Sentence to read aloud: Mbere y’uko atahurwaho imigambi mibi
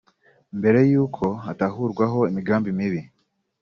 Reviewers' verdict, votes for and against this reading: accepted, 2, 0